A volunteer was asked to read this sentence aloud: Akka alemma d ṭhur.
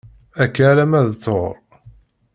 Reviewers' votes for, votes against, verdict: 2, 0, accepted